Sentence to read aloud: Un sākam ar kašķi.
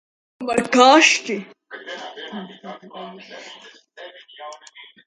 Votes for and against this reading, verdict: 0, 2, rejected